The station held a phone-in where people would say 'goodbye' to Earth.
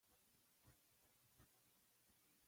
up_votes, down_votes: 0, 2